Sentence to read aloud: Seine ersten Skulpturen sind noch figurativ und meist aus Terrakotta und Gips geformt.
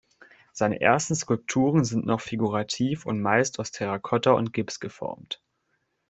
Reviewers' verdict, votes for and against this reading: accepted, 2, 0